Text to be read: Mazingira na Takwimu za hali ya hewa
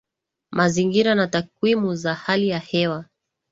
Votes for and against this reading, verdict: 0, 3, rejected